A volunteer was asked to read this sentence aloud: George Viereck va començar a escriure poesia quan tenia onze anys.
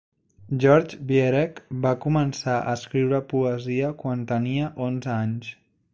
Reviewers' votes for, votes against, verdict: 2, 0, accepted